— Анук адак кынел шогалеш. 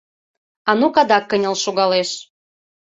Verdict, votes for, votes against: accepted, 3, 0